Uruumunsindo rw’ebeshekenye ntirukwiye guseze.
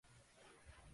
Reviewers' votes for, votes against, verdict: 0, 2, rejected